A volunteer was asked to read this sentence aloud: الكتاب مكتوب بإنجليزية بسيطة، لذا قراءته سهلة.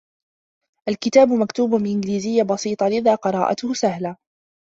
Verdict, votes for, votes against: rejected, 0, 2